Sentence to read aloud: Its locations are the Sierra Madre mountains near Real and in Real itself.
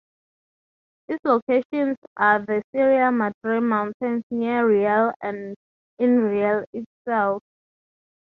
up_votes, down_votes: 3, 0